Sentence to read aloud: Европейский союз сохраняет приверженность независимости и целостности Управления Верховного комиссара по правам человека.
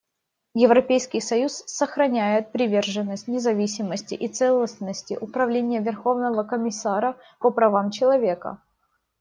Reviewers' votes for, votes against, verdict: 2, 0, accepted